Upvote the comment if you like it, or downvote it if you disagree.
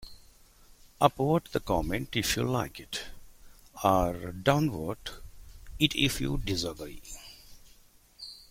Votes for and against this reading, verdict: 2, 0, accepted